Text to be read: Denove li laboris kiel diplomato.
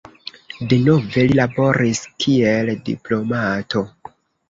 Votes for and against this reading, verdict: 1, 2, rejected